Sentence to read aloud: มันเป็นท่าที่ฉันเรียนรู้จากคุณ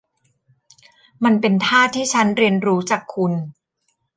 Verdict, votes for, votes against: rejected, 1, 2